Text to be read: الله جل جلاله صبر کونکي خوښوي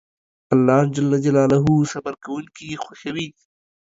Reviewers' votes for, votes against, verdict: 2, 0, accepted